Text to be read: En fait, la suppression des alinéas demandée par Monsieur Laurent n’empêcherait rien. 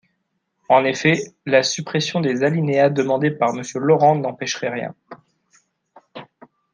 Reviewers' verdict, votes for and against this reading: rejected, 0, 2